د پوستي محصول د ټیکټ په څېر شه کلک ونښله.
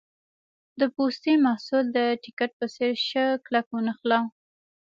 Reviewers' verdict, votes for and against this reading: accepted, 3, 0